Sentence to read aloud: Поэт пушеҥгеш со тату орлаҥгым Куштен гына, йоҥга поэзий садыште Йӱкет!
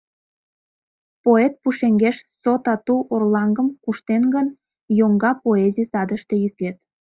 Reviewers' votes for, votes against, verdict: 0, 2, rejected